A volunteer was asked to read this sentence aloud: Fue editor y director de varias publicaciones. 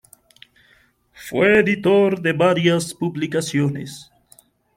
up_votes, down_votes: 1, 2